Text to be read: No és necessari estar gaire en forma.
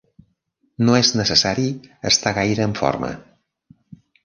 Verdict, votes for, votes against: accepted, 3, 0